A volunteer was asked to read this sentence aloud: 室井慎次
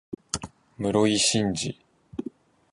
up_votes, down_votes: 21, 3